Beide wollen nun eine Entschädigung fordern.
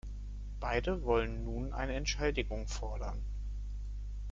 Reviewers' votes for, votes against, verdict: 0, 2, rejected